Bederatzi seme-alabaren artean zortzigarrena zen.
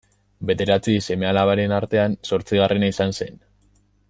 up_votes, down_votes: 0, 2